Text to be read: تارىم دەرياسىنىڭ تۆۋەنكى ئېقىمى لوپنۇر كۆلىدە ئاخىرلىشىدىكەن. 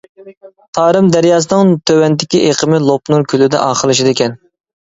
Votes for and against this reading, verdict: 0, 2, rejected